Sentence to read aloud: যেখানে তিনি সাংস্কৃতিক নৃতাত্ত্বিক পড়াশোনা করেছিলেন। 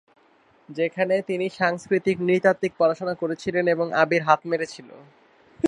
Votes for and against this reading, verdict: 1, 3, rejected